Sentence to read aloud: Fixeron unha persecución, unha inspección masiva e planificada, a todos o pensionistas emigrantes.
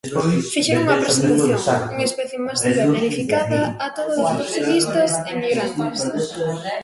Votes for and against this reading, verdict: 0, 2, rejected